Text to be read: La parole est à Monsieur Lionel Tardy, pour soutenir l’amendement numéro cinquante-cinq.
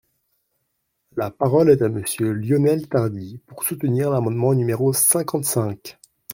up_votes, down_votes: 2, 0